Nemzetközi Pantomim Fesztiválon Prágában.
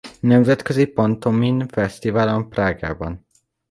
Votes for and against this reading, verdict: 2, 0, accepted